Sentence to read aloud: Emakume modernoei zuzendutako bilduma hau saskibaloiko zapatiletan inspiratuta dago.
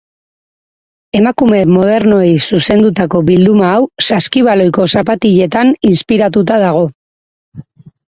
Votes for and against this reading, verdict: 4, 0, accepted